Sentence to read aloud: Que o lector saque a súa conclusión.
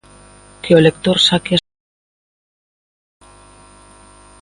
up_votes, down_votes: 0, 2